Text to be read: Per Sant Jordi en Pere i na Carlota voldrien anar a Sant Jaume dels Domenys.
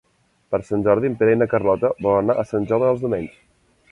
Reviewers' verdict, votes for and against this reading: rejected, 0, 2